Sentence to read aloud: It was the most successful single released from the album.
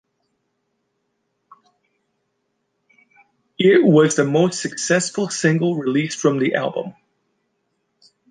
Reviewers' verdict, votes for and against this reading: accepted, 2, 0